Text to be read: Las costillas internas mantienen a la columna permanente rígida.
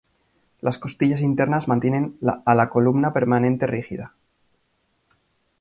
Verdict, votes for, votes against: accepted, 2, 0